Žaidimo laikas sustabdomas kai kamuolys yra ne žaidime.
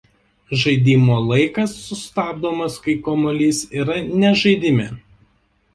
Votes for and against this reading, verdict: 2, 0, accepted